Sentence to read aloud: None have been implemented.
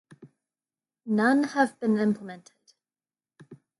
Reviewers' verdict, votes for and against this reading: accepted, 2, 0